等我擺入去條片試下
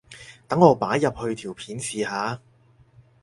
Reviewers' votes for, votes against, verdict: 6, 0, accepted